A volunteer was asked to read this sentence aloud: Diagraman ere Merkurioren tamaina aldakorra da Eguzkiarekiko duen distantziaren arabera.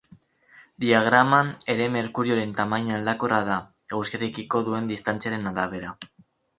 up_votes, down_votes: 2, 2